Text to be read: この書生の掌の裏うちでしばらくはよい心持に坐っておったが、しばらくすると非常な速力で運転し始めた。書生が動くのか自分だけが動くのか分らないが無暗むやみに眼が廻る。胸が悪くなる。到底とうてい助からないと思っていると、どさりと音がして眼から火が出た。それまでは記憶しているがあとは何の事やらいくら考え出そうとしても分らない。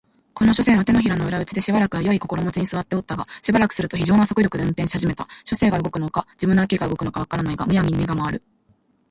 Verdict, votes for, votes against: accepted, 3, 1